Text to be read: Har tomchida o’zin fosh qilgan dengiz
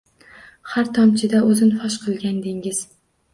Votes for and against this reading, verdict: 2, 0, accepted